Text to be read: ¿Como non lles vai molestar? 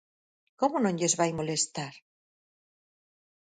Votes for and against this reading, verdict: 4, 0, accepted